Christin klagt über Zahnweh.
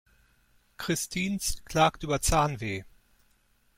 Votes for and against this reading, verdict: 1, 2, rejected